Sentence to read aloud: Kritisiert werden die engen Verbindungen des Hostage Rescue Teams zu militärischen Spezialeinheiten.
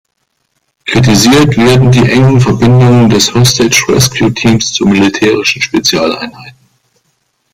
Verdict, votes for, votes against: rejected, 0, 2